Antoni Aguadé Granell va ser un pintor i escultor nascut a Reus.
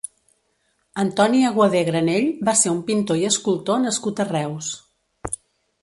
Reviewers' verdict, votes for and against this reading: accepted, 2, 0